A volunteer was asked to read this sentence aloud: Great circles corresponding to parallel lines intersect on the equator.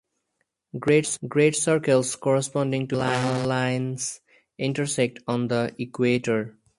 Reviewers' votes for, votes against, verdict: 4, 0, accepted